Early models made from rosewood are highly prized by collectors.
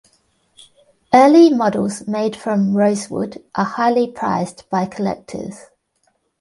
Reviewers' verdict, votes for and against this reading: rejected, 0, 2